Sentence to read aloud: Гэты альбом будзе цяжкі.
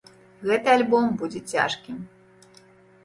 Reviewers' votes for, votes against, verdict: 1, 2, rejected